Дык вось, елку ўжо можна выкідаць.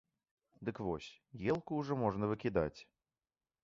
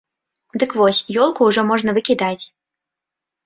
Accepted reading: first